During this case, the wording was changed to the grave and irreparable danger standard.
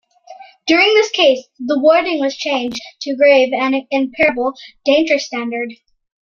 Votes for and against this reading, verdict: 2, 1, accepted